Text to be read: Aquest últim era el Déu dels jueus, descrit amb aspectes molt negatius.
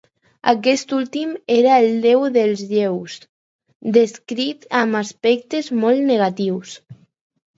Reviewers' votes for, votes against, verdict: 0, 4, rejected